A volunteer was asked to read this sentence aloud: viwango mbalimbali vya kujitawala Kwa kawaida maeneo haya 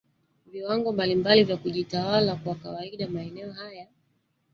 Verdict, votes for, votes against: rejected, 1, 2